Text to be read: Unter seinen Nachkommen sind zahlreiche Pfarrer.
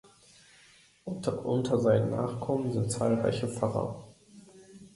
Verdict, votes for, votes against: rejected, 0, 2